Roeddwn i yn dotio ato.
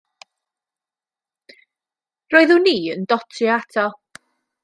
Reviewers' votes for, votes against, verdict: 2, 0, accepted